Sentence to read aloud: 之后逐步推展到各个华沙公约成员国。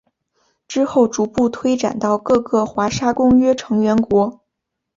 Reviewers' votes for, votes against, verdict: 2, 0, accepted